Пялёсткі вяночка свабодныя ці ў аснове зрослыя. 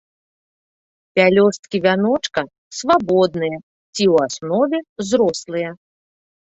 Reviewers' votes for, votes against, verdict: 2, 0, accepted